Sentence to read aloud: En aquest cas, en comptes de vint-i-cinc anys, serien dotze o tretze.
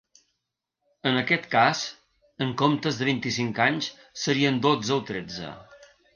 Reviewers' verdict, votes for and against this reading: accepted, 3, 0